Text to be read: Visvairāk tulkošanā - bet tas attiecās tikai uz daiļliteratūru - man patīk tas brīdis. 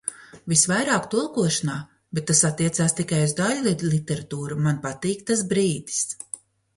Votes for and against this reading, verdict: 1, 2, rejected